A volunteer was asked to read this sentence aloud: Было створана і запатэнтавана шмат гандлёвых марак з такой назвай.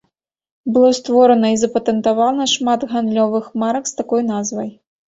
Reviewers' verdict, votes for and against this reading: accepted, 2, 0